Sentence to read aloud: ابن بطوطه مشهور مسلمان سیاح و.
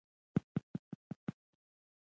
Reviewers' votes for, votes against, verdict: 0, 2, rejected